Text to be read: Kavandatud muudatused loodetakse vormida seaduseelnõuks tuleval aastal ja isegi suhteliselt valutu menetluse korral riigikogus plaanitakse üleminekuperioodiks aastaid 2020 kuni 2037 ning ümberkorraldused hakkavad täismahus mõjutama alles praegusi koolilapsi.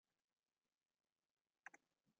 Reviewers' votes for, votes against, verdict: 0, 2, rejected